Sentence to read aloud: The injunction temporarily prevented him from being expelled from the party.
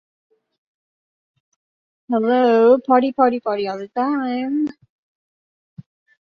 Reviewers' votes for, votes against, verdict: 0, 2, rejected